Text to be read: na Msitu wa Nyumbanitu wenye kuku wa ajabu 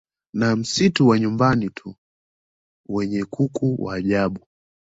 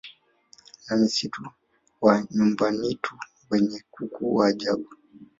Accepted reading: first